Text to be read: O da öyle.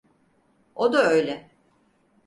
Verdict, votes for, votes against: accepted, 4, 0